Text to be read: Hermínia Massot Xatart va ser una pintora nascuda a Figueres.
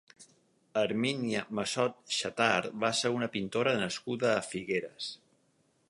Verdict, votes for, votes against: accepted, 6, 0